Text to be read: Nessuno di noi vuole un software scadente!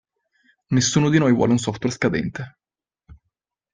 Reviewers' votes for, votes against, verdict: 2, 0, accepted